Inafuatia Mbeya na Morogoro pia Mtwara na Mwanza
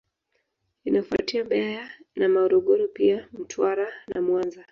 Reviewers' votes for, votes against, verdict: 1, 2, rejected